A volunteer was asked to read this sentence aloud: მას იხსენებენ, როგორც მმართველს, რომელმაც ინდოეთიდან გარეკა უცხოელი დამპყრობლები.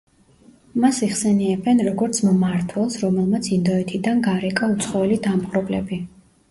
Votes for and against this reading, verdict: 0, 2, rejected